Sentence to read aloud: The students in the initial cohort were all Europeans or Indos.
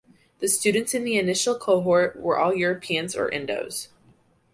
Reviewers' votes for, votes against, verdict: 2, 0, accepted